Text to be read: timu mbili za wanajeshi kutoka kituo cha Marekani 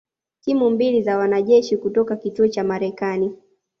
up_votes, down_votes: 2, 0